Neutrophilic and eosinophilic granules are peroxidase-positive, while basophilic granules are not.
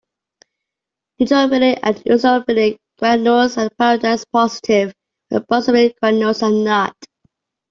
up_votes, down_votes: 2, 1